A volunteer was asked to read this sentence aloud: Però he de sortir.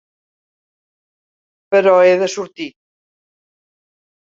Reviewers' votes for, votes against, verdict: 3, 0, accepted